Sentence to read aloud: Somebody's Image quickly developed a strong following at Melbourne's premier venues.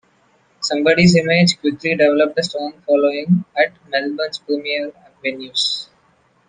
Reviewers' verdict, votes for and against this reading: accepted, 2, 0